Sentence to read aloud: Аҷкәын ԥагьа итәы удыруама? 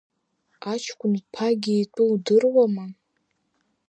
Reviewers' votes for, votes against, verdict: 2, 0, accepted